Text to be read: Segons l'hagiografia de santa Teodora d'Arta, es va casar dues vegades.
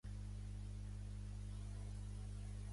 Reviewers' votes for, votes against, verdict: 0, 2, rejected